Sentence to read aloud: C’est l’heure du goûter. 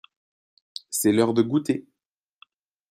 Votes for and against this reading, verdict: 0, 2, rejected